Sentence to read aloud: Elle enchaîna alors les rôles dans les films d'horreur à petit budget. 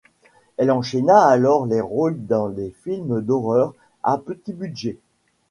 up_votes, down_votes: 2, 0